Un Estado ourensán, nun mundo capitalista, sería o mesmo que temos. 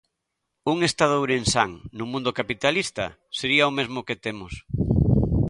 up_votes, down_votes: 2, 0